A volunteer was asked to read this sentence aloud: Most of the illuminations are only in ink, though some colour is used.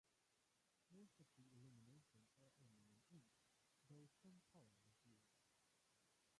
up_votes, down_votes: 0, 2